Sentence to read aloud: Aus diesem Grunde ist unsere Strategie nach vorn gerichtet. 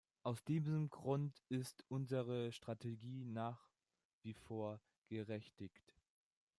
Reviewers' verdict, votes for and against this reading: rejected, 0, 2